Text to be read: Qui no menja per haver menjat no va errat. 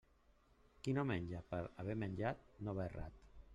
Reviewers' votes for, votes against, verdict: 0, 2, rejected